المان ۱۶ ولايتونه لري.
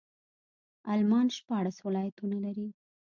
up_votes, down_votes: 0, 2